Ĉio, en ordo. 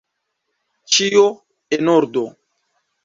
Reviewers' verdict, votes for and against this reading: accepted, 2, 0